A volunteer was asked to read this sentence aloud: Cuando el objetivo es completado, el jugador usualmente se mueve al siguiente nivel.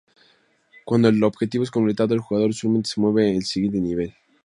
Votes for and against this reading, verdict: 0, 2, rejected